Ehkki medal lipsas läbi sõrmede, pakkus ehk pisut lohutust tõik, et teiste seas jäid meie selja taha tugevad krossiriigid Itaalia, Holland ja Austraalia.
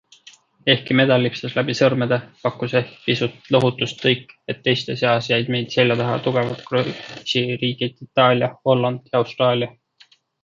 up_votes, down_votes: 2, 1